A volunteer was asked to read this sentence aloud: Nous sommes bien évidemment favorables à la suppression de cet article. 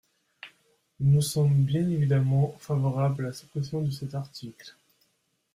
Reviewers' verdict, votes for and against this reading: accepted, 2, 0